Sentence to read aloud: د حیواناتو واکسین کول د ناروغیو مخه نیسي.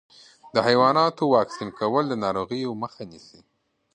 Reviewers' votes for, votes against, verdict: 2, 0, accepted